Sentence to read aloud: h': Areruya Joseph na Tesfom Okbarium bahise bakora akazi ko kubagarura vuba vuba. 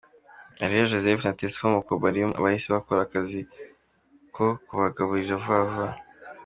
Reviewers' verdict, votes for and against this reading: accepted, 2, 1